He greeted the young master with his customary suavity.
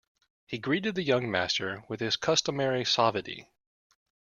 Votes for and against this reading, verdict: 0, 2, rejected